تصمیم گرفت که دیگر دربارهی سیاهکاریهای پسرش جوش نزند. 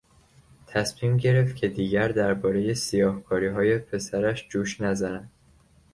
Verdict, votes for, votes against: accepted, 2, 1